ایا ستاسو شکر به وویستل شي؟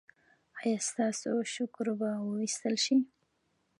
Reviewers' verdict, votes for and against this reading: rejected, 1, 2